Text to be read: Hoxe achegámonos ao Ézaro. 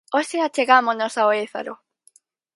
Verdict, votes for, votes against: accepted, 4, 0